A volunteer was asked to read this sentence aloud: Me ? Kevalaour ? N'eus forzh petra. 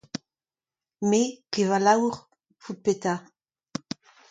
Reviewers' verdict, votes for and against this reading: rejected, 0, 2